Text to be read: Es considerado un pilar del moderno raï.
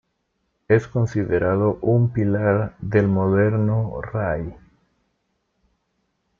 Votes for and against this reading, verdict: 2, 1, accepted